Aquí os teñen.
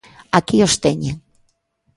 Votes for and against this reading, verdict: 2, 0, accepted